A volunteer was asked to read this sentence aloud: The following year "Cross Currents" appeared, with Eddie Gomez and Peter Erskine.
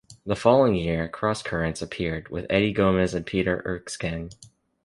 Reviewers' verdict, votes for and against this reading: accepted, 2, 0